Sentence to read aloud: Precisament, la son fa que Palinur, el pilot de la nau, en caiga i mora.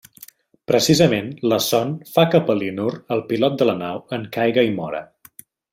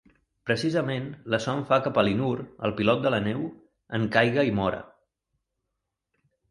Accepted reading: first